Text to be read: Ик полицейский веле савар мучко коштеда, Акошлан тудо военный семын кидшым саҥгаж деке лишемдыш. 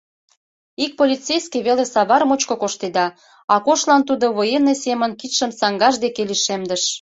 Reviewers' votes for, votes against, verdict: 2, 0, accepted